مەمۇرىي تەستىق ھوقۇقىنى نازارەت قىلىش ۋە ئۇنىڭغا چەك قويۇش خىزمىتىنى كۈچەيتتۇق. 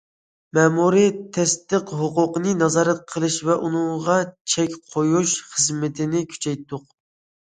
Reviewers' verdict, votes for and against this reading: accepted, 2, 0